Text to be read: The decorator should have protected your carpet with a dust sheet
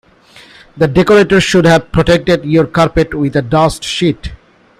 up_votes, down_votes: 2, 0